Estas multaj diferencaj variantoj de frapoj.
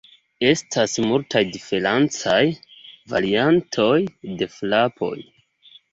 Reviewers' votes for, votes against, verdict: 1, 3, rejected